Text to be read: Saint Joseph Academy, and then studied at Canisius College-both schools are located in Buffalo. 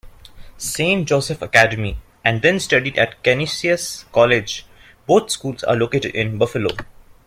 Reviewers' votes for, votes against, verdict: 2, 0, accepted